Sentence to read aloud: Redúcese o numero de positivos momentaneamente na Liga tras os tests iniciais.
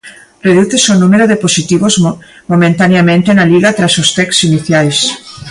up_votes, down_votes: 0, 2